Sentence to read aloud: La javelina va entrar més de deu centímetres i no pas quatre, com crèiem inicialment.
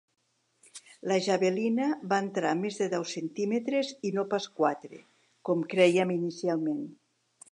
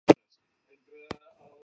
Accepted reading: first